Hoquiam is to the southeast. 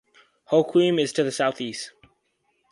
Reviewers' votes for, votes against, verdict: 2, 0, accepted